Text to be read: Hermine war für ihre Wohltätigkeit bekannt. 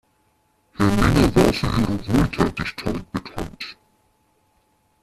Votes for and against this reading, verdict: 0, 2, rejected